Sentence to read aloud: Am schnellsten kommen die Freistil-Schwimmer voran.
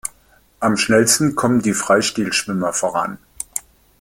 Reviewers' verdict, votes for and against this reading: accepted, 2, 1